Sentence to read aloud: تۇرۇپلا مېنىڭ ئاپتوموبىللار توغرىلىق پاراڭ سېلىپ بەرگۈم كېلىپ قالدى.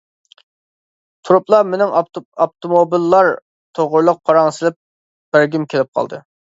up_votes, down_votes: 1, 2